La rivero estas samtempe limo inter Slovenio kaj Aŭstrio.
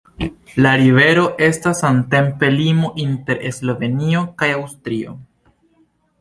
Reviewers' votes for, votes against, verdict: 2, 0, accepted